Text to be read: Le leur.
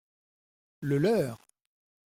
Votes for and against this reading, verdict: 2, 0, accepted